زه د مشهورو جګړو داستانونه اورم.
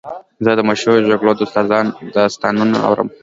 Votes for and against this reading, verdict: 2, 0, accepted